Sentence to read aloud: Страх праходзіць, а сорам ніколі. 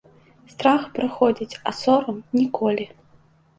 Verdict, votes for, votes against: accepted, 2, 0